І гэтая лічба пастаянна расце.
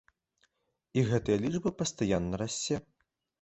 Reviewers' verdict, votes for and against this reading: accepted, 2, 0